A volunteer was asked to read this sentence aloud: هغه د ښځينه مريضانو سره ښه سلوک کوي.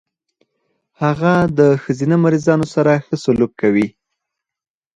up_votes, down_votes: 2, 4